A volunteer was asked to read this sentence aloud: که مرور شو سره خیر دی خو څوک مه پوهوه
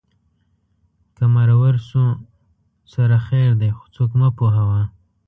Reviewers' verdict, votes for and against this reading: accepted, 2, 0